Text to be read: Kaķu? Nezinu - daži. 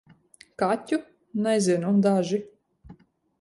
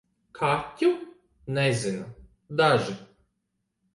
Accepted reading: first